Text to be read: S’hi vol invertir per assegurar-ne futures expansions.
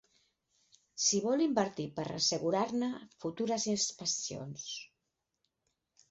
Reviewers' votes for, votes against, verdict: 6, 0, accepted